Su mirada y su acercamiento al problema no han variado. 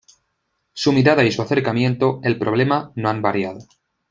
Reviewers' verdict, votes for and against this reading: rejected, 1, 2